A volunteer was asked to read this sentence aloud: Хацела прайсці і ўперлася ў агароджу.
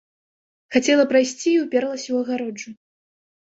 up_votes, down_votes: 2, 0